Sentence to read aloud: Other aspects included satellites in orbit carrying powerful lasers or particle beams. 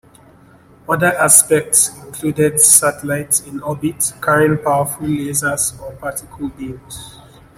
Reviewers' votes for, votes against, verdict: 2, 0, accepted